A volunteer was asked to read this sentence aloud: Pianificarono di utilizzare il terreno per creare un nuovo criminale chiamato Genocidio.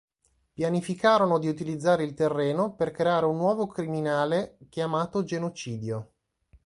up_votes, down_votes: 2, 0